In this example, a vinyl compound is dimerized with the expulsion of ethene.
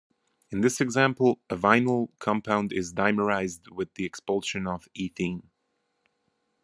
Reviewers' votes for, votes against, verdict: 2, 0, accepted